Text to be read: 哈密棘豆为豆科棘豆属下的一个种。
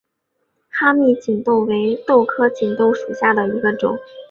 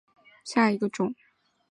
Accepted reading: first